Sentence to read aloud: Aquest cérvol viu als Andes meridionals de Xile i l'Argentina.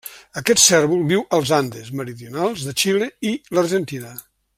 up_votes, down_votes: 3, 0